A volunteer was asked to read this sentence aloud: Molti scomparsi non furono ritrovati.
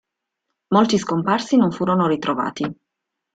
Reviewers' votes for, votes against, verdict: 2, 0, accepted